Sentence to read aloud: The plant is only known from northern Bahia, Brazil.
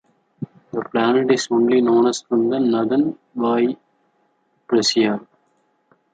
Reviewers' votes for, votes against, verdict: 0, 2, rejected